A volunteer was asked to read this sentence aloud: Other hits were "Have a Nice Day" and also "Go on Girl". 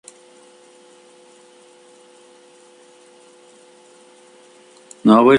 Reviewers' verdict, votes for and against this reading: rejected, 0, 2